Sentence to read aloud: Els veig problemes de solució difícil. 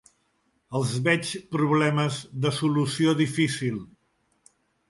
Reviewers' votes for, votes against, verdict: 3, 0, accepted